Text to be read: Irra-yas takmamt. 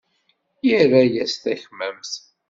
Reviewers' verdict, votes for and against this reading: accepted, 2, 0